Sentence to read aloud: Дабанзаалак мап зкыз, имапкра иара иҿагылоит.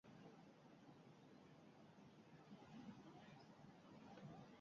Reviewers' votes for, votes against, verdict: 0, 2, rejected